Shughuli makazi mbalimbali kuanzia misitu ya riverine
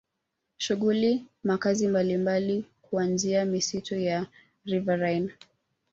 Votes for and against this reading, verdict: 0, 2, rejected